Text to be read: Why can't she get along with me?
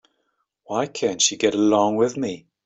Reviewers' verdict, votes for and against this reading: accepted, 2, 0